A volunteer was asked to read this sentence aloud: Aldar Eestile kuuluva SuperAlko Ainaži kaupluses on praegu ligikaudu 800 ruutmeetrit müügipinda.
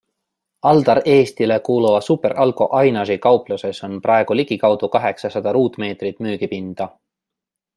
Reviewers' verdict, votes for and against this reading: rejected, 0, 2